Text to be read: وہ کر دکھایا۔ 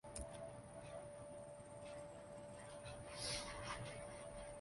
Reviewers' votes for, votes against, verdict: 0, 2, rejected